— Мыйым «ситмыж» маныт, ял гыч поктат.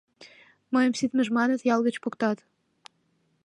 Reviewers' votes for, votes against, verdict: 2, 0, accepted